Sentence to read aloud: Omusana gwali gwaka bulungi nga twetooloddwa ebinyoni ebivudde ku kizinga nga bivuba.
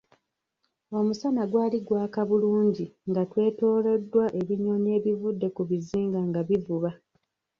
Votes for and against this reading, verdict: 0, 2, rejected